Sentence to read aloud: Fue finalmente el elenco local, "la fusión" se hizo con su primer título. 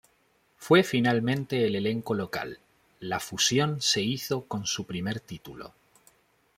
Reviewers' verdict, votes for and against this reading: accepted, 2, 0